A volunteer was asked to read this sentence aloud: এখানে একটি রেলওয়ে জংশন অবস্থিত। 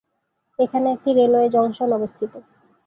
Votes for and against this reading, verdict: 2, 1, accepted